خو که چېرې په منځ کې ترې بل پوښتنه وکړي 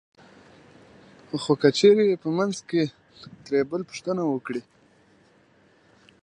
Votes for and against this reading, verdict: 2, 0, accepted